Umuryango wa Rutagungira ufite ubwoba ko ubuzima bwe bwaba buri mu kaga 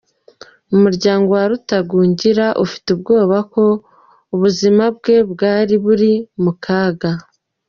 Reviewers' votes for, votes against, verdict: 0, 2, rejected